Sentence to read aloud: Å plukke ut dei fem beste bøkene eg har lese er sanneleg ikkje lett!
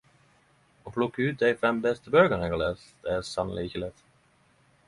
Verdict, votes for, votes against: accepted, 10, 0